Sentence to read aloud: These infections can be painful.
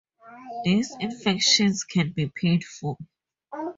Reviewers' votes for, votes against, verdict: 2, 0, accepted